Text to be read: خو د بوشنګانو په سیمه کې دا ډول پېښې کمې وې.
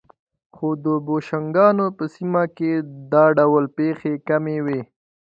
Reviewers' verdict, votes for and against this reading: accepted, 2, 0